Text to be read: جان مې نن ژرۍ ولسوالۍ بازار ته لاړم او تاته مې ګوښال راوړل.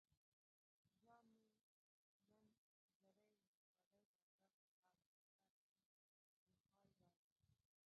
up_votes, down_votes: 2, 1